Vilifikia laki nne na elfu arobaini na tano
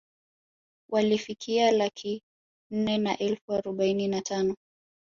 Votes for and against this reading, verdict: 4, 0, accepted